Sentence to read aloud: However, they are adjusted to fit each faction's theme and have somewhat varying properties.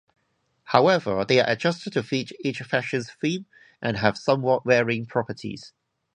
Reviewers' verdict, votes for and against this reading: rejected, 0, 2